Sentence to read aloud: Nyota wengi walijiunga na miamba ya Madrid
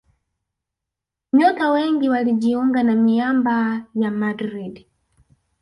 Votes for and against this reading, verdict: 1, 2, rejected